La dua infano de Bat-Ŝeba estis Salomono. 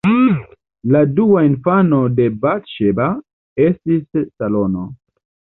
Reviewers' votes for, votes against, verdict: 0, 2, rejected